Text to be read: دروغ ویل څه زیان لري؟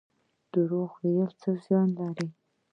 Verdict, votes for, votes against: rejected, 1, 2